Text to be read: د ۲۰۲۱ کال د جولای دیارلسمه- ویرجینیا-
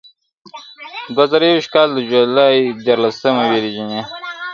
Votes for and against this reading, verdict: 0, 2, rejected